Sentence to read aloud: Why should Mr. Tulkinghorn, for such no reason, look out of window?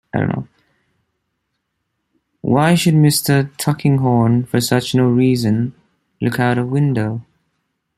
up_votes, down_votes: 1, 2